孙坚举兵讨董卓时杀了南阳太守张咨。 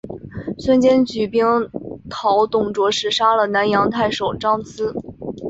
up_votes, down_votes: 2, 1